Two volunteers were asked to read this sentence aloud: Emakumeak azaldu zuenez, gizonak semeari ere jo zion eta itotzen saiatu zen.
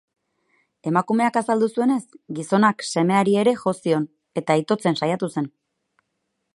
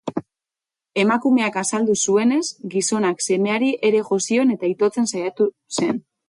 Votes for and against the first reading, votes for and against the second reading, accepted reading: 4, 0, 2, 2, first